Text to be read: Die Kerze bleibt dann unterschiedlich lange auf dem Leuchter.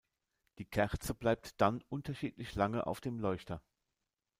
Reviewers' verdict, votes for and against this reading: rejected, 0, 2